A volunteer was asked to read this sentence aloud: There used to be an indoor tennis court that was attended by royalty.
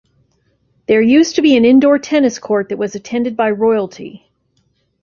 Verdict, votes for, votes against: rejected, 1, 2